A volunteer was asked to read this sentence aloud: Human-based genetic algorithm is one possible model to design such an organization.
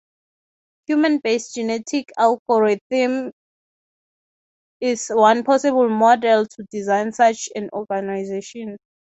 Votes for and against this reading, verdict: 3, 3, rejected